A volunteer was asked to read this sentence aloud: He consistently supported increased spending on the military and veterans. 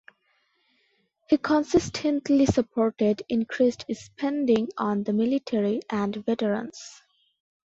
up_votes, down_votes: 2, 0